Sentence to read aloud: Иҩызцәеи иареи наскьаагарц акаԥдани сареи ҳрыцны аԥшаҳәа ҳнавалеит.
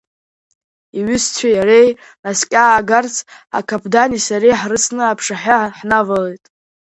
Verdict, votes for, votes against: rejected, 2, 3